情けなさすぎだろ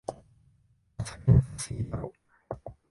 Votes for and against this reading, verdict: 1, 2, rejected